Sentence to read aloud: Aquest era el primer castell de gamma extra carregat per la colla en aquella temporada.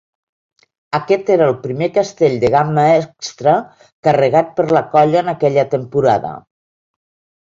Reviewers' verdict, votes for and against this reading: accepted, 2, 0